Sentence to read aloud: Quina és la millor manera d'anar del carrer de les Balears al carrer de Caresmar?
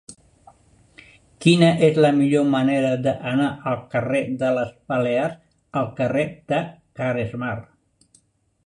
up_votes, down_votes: 1, 3